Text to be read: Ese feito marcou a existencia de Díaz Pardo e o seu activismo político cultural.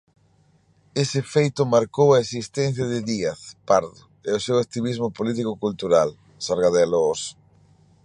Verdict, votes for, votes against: rejected, 0, 2